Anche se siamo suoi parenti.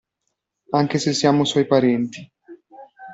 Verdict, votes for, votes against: accepted, 2, 0